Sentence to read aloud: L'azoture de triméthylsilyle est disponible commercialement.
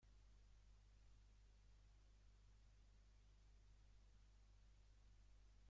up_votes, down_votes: 0, 2